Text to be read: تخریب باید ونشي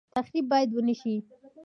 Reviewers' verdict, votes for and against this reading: accepted, 2, 1